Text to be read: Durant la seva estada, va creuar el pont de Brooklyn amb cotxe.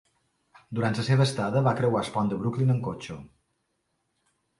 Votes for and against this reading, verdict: 2, 1, accepted